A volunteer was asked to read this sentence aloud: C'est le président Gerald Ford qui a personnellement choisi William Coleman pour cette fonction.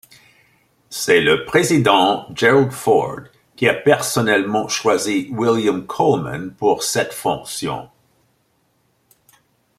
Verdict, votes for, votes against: accepted, 2, 0